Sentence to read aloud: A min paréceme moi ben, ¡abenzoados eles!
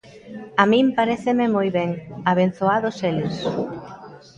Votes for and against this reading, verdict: 2, 0, accepted